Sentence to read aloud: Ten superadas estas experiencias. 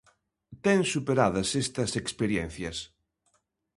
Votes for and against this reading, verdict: 2, 0, accepted